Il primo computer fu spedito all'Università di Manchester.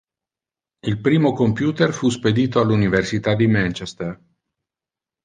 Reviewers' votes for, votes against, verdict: 2, 0, accepted